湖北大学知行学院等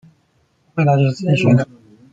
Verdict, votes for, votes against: rejected, 0, 2